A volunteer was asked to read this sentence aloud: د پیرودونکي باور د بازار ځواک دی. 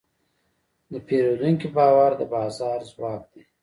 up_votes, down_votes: 2, 1